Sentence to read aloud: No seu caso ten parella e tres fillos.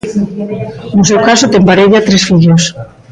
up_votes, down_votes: 2, 0